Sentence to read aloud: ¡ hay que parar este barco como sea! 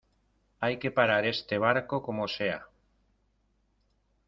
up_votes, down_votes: 2, 0